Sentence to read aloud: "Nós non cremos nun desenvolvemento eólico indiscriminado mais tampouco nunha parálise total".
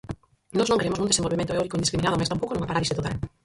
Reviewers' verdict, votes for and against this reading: rejected, 0, 4